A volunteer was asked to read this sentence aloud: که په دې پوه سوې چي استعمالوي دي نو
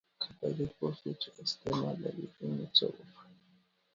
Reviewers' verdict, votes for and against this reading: rejected, 0, 2